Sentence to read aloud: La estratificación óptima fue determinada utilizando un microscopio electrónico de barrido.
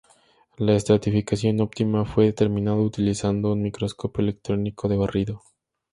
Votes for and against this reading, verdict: 2, 0, accepted